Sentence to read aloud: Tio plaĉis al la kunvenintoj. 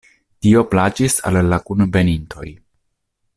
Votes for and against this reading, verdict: 0, 2, rejected